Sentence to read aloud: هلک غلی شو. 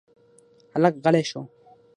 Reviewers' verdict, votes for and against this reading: accepted, 6, 3